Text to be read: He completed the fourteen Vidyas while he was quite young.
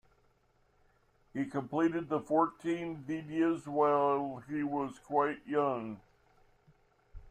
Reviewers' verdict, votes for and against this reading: accepted, 2, 0